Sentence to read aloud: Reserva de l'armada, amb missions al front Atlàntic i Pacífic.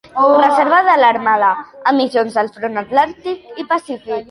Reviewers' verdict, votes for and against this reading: rejected, 0, 2